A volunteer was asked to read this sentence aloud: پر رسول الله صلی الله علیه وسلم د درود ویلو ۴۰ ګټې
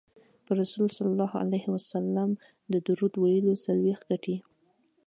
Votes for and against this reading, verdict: 0, 2, rejected